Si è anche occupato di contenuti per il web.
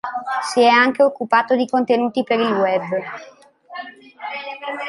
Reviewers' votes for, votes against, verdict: 2, 0, accepted